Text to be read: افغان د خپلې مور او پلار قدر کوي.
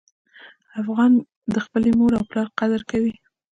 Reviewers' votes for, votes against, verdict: 2, 0, accepted